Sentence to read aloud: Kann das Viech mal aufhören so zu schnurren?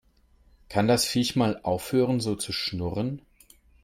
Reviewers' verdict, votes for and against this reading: accepted, 3, 0